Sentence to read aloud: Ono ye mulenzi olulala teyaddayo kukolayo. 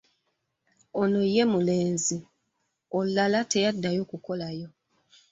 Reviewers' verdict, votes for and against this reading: accepted, 2, 1